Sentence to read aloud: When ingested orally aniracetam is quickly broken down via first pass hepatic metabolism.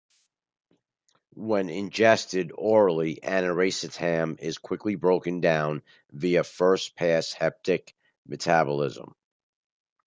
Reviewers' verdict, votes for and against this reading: rejected, 0, 2